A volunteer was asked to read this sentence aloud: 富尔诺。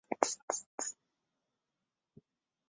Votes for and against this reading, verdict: 2, 5, rejected